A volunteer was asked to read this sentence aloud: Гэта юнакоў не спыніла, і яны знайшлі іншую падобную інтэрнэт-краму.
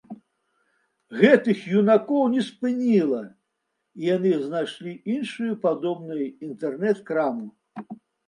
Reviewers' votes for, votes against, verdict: 0, 2, rejected